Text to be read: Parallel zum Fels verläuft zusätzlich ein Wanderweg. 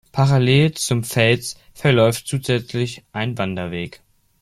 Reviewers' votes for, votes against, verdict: 2, 1, accepted